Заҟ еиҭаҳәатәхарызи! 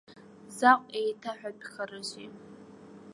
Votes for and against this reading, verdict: 0, 2, rejected